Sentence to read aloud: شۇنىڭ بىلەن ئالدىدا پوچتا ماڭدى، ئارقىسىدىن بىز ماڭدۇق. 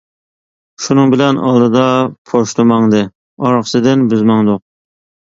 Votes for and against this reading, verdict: 1, 2, rejected